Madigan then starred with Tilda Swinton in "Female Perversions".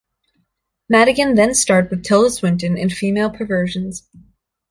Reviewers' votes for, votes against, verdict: 2, 0, accepted